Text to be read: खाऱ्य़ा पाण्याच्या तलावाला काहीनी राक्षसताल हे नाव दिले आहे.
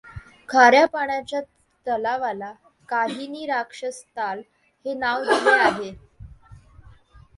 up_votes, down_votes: 2, 0